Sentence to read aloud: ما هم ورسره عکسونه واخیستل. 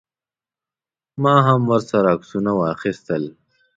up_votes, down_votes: 2, 0